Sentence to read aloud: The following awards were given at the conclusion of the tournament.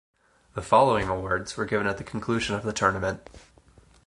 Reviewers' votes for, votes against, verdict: 4, 0, accepted